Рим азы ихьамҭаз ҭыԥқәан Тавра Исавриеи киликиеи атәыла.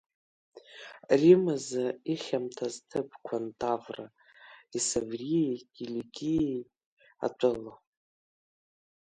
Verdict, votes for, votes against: rejected, 1, 2